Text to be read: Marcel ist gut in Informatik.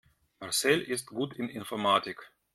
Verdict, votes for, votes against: accepted, 2, 0